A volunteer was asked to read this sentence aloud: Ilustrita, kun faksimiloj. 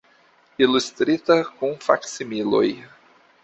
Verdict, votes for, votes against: accepted, 2, 0